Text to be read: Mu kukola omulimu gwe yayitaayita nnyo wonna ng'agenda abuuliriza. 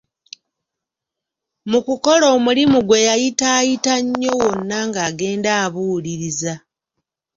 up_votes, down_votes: 2, 0